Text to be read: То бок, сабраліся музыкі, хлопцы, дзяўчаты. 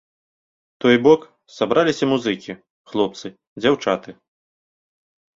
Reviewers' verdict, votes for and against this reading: rejected, 0, 2